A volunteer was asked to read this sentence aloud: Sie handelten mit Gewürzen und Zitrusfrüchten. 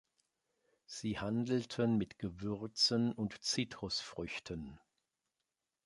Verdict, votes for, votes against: accepted, 3, 0